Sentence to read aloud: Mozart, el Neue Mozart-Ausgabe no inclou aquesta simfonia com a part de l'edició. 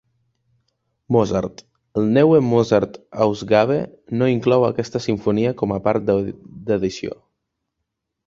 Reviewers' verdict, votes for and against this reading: rejected, 0, 2